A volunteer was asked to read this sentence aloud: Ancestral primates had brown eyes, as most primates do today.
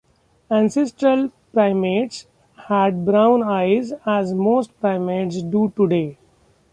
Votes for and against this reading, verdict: 2, 0, accepted